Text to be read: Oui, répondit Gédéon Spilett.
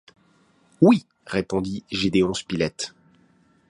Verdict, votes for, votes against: accepted, 2, 0